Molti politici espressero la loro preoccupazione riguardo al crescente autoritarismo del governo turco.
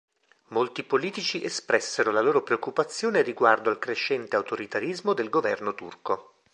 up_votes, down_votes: 3, 0